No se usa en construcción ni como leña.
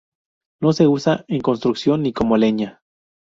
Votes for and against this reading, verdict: 2, 2, rejected